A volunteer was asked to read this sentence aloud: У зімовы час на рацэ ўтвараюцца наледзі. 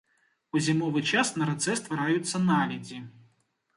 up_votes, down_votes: 1, 2